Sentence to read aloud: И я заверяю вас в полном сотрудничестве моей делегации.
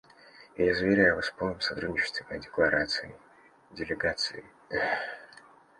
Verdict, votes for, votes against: rejected, 0, 2